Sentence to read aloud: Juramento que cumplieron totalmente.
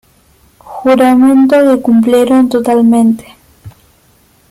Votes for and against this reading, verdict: 1, 2, rejected